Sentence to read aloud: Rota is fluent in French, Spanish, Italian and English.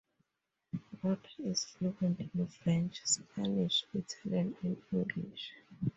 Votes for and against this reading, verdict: 2, 4, rejected